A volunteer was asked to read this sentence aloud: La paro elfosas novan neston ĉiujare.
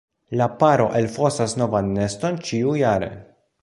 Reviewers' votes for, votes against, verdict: 2, 0, accepted